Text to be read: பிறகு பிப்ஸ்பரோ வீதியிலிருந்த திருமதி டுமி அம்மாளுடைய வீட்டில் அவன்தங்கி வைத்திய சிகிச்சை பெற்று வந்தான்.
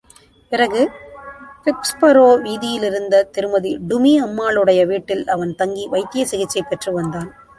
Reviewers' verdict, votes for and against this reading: accepted, 2, 0